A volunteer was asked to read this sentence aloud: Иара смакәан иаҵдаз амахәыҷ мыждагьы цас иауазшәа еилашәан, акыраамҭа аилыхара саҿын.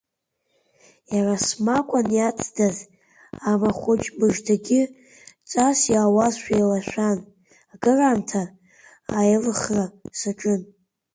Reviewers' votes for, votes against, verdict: 2, 1, accepted